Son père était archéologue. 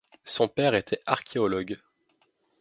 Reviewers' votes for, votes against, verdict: 2, 0, accepted